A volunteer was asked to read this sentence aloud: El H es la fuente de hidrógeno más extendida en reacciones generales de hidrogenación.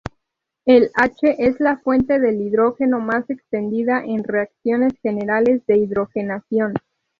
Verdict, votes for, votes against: accepted, 4, 0